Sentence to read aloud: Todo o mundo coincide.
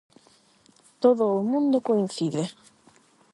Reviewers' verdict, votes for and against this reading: accepted, 8, 0